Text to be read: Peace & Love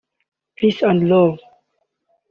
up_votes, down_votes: 1, 2